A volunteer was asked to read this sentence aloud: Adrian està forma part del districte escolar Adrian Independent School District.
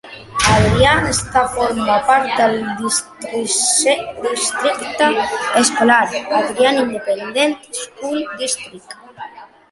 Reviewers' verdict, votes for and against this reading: rejected, 0, 2